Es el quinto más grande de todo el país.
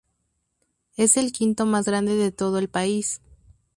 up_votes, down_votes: 2, 0